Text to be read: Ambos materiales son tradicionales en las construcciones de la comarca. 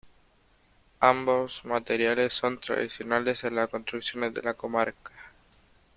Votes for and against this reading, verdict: 2, 1, accepted